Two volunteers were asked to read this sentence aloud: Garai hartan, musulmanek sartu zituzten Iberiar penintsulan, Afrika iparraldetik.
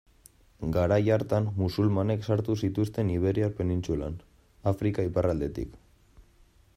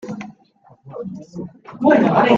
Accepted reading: first